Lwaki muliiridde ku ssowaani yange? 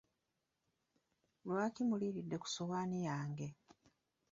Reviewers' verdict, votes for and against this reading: accepted, 2, 0